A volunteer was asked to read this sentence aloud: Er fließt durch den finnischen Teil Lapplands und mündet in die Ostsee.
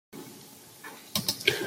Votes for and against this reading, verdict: 0, 2, rejected